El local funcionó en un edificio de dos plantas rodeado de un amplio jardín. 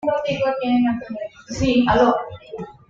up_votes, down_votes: 1, 2